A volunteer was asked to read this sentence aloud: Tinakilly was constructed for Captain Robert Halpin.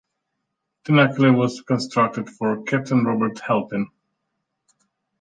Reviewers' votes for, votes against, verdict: 2, 1, accepted